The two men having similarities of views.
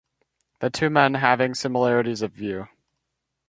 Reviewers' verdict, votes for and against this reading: accepted, 4, 2